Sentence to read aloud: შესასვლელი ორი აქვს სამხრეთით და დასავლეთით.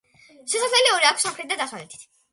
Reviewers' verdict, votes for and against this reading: rejected, 1, 2